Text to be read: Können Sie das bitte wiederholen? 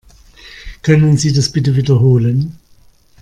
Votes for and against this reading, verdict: 2, 0, accepted